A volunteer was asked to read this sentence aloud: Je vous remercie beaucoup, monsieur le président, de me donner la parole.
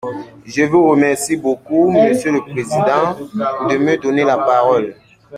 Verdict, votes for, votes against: accepted, 2, 1